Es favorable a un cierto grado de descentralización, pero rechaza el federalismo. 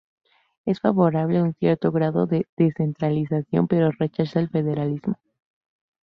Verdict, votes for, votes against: rejected, 0, 2